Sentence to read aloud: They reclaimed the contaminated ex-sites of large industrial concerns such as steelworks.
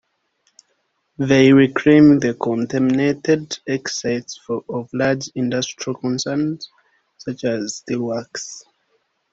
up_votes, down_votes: 2, 0